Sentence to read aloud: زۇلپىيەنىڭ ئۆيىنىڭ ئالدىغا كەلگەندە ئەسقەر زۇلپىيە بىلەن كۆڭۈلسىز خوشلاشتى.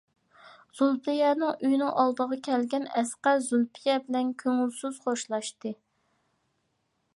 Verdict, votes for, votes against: rejected, 0, 2